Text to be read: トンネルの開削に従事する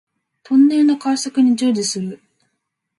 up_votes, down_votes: 2, 0